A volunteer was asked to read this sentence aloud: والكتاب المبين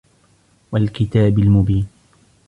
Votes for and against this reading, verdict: 2, 1, accepted